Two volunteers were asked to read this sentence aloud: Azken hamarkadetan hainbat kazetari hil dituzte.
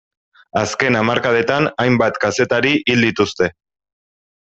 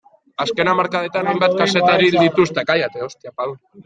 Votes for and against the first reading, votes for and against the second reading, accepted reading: 3, 0, 0, 2, first